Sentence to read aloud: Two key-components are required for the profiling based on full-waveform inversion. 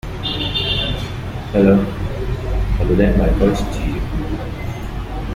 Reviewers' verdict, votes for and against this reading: rejected, 0, 2